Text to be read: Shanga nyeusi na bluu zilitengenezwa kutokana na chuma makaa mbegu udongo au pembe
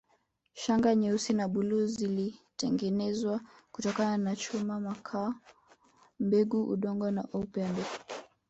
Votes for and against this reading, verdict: 1, 2, rejected